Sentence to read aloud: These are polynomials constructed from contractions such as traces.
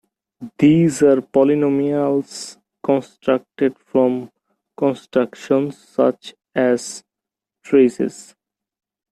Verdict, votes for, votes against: rejected, 0, 2